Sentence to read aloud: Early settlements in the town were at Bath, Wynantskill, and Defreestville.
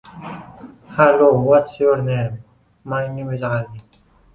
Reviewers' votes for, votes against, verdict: 0, 2, rejected